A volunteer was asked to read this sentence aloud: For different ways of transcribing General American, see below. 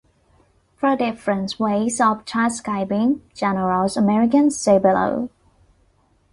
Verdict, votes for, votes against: rejected, 0, 2